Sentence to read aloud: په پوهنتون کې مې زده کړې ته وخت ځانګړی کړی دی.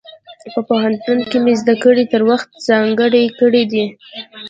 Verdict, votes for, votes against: rejected, 0, 2